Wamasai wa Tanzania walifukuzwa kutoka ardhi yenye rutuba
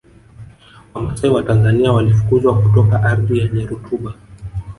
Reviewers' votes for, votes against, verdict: 2, 3, rejected